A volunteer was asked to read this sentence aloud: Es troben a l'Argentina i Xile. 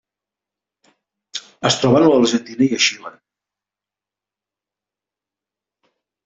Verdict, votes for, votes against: rejected, 0, 2